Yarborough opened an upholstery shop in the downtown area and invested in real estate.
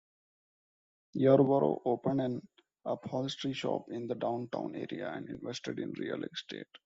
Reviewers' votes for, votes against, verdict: 1, 2, rejected